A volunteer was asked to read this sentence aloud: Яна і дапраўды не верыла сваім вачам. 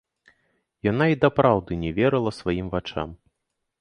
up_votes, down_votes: 2, 0